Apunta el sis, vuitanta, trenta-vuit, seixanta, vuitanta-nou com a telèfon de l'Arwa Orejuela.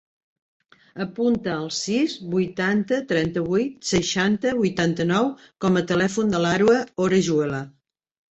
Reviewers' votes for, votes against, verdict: 3, 0, accepted